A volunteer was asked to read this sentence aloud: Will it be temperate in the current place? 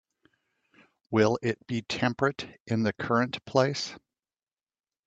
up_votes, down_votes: 2, 0